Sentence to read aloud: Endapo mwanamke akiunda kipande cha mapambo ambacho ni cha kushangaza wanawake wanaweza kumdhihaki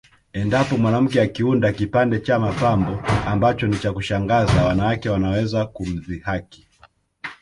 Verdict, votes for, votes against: accepted, 2, 0